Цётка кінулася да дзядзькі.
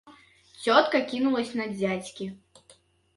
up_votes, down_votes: 1, 2